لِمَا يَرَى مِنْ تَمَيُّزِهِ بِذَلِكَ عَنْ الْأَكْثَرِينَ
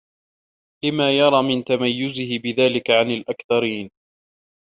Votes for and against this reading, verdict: 1, 2, rejected